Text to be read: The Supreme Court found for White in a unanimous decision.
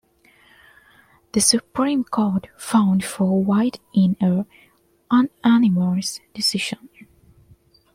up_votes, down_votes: 1, 2